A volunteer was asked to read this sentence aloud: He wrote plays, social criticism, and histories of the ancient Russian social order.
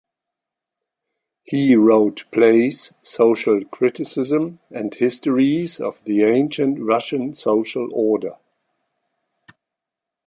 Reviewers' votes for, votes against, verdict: 2, 0, accepted